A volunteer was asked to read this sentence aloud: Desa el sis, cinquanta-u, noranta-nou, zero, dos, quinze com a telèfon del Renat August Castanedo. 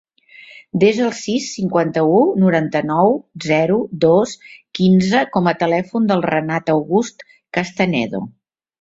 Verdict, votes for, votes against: accepted, 3, 0